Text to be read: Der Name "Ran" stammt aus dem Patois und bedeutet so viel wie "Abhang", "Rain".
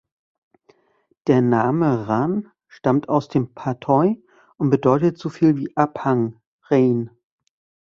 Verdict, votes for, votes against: rejected, 1, 2